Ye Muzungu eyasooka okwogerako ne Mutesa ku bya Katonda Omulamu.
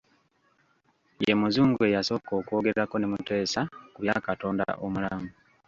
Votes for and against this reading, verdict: 0, 2, rejected